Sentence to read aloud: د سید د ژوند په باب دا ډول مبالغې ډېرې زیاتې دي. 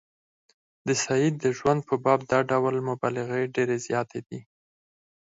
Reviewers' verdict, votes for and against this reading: rejected, 2, 4